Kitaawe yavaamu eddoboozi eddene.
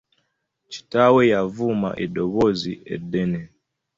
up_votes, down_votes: 0, 2